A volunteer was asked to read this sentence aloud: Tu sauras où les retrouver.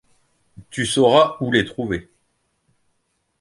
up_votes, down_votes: 0, 2